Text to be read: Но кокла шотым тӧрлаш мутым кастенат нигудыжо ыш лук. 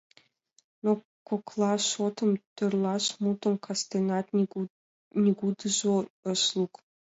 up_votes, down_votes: 0, 2